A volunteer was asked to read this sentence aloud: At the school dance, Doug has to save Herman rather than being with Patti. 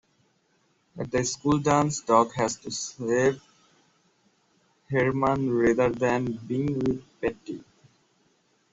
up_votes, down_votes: 0, 2